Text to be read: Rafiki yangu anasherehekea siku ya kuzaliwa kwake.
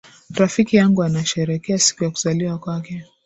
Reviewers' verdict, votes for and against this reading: accepted, 2, 0